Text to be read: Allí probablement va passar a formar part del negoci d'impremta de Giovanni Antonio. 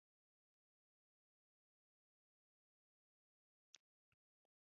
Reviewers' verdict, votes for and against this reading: rejected, 1, 2